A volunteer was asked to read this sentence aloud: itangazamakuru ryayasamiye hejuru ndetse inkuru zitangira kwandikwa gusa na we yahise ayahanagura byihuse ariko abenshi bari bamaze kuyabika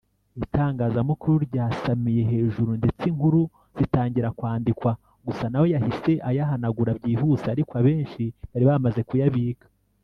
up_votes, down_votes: 1, 2